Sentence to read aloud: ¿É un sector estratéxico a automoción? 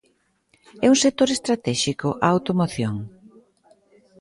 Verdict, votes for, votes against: accepted, 2, 0